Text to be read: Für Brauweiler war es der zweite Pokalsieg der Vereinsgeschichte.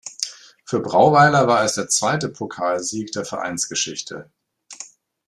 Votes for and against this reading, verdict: 2, 0, accepted